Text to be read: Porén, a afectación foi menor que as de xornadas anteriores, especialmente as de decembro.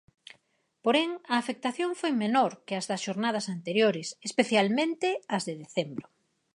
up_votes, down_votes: 2, 4